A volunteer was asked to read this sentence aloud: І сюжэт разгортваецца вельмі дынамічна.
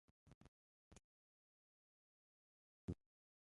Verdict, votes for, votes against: rejected, 0, 2